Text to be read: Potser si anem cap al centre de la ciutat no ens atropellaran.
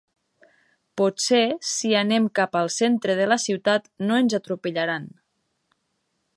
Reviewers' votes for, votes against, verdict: 5, 0, accepted